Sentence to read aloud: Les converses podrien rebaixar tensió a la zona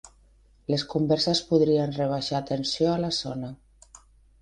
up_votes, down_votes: 3, 0